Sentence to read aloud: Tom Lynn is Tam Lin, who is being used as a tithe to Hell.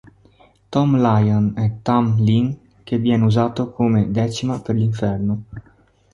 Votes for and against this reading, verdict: 0, 2, rejected